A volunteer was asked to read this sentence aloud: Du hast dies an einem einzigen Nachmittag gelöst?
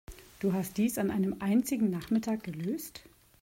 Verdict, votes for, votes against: accepted, 2, 0